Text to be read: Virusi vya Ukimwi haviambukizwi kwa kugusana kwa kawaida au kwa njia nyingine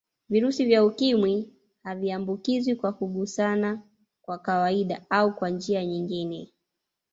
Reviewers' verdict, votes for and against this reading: rejected, 1, 2